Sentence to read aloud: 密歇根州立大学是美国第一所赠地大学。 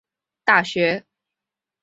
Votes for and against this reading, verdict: 0, 2, rejected